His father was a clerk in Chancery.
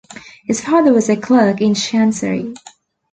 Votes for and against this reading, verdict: 2, 1, accepted